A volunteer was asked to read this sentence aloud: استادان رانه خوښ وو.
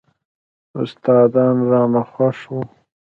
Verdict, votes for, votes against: rejected, 0, 2